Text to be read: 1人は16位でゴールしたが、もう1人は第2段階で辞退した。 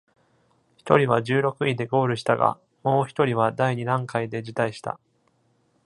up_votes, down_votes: 0, 2